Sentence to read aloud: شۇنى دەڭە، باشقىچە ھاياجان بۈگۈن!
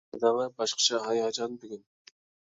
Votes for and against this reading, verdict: 1, 2, rejected